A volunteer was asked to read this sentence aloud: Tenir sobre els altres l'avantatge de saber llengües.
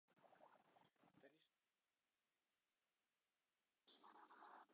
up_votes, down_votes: 0, 2